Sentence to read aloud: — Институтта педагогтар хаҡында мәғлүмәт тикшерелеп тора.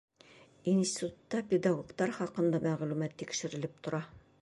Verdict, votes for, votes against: accepted, 3, 0